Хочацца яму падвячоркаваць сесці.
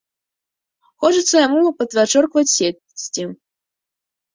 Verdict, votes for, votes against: rejected, 1, 2